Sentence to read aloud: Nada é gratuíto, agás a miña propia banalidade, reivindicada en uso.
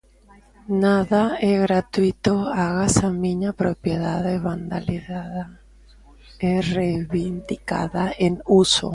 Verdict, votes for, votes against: rejected, 0, 2